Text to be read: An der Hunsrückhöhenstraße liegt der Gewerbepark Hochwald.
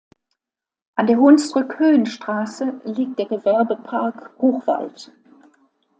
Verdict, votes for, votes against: accepted, 2, 0